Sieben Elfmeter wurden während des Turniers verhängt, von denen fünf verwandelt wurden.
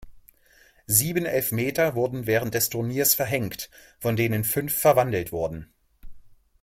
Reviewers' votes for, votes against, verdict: 2, 0, accepted